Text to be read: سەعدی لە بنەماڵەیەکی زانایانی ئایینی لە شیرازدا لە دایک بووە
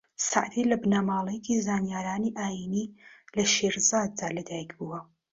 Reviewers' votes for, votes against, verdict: 1, 2, rejected